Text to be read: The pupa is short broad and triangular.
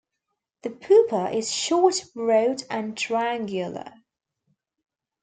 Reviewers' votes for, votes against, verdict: 1, 2, rejected